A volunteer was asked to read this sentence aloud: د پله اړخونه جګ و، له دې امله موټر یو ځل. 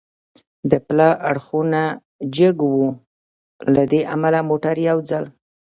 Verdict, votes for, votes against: rejected, 1, 2